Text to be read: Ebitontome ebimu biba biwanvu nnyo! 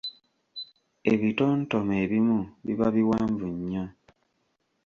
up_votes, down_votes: 3, 0